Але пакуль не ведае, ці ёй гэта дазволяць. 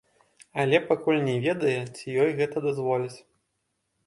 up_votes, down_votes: 2, 3